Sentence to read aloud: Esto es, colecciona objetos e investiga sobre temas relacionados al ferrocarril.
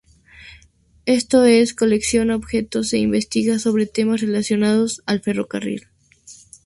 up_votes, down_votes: 2, 0